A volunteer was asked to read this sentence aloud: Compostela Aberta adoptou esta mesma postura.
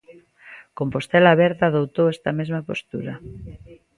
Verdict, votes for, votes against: accepted, 2, 0